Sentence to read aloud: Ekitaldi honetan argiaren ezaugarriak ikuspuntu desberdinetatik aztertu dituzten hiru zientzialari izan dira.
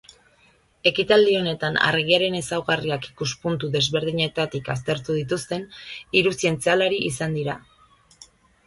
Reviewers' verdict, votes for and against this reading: rejected, 1, 2